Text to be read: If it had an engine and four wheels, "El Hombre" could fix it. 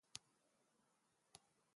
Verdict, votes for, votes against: rejected, 0, 2